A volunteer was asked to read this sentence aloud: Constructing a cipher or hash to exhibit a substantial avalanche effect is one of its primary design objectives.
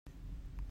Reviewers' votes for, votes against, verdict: 0, 2, rejected